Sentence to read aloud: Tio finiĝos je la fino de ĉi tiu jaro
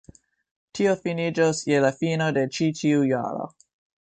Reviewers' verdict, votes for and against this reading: rejected, 0, 2